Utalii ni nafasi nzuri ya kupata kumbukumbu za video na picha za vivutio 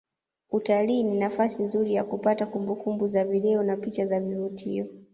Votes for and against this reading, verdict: 1, 2, rejected